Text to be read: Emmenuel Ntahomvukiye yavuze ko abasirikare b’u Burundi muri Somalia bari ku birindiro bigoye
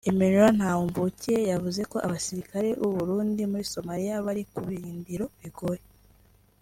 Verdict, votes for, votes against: accepted, 2, 0